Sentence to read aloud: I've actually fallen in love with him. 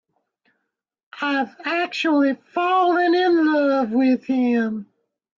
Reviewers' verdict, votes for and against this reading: accepted, 2, 0